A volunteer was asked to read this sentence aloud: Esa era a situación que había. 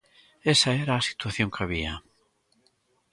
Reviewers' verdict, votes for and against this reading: accepted, 2, 0